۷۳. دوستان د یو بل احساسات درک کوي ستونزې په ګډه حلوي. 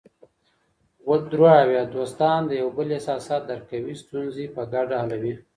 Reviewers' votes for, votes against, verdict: 0, 2, rejected